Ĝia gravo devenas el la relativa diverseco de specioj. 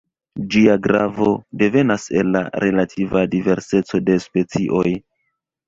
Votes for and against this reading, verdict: 2, 1, accepted